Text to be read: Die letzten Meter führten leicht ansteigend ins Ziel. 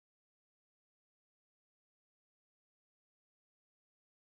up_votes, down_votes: 0, 2